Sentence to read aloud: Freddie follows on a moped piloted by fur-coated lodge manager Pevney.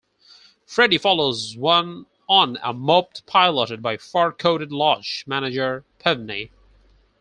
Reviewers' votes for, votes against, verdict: 2, 4, rejected